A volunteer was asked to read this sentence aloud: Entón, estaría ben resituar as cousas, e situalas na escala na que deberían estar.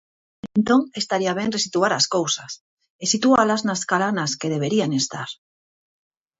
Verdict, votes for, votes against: rejected, 0, 4